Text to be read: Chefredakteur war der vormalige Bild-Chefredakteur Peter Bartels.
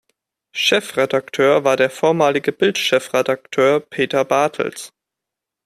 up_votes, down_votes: 2, 0